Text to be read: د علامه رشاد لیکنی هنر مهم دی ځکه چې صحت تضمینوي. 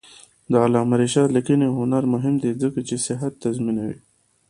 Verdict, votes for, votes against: accepted, 3, 0